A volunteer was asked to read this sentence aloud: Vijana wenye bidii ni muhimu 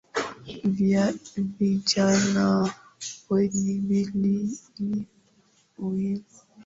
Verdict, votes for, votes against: accepted, 6, 5